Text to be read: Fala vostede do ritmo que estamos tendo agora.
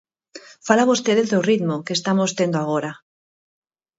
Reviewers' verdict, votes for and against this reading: accepted, 4, 0